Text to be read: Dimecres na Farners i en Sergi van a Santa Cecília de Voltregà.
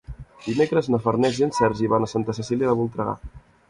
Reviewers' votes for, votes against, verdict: 2, 0, accepted